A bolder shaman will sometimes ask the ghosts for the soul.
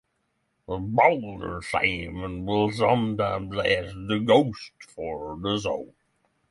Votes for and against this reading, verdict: 0, 3, rejected